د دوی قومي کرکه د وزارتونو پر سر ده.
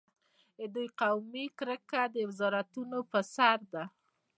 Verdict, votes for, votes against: accepted, 2, 0